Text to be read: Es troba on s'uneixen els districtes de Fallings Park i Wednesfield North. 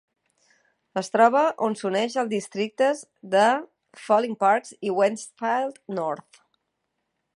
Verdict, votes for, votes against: rejected, 1, 2